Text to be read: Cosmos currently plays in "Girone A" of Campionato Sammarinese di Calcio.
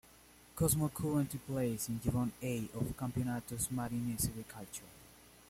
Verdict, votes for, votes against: rejected, 1, 2